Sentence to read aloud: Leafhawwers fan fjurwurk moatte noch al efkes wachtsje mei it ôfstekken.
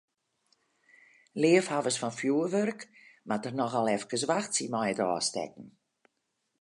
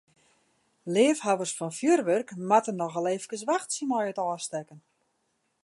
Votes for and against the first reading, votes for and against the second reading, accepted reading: 0, 2, 2, 0, second